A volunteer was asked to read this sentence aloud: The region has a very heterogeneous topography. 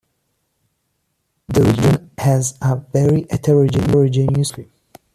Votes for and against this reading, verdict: 0, 2, rejected